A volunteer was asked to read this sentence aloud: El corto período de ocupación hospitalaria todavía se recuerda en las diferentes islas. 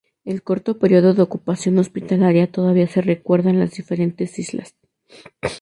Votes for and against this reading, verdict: 2, 0, accepted